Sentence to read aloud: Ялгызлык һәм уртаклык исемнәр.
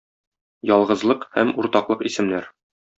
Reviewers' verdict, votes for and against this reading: accepted, 2, 0